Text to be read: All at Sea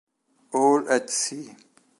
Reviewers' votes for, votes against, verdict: 2, 0, accepted